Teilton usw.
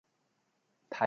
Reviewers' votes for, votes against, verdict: 0, 3, rejected